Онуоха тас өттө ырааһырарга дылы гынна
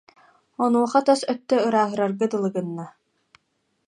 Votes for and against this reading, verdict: 2, 0, accepted